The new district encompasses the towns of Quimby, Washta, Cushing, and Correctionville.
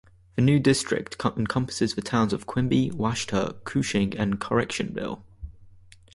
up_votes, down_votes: 0, 2